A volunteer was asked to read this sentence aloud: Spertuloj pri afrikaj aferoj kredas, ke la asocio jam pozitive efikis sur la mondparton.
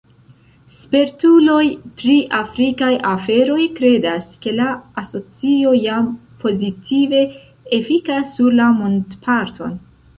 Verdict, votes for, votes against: rejected, 0, 2